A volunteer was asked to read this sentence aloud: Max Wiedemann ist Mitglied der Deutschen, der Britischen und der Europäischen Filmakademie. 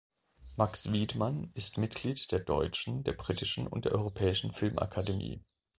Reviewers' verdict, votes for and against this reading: rejected, 0, 2